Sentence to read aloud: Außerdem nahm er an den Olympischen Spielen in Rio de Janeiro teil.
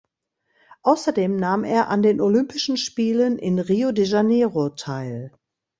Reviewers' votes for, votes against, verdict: 2, 0, accepted